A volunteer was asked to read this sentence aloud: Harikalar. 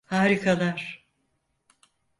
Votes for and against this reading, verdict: 4, 0, accepted